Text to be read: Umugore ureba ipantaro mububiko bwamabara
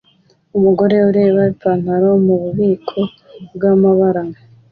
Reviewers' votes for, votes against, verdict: 2, 0, accepted